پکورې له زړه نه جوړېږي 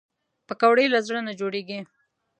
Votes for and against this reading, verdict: 2, 0, accepted